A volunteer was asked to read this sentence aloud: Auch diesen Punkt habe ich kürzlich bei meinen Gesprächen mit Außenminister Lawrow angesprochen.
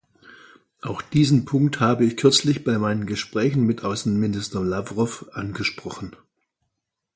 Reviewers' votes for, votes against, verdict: 2, 0, accepted